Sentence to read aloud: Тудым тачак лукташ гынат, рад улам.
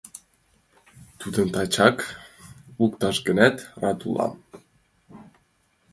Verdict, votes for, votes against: accepted, 2, 0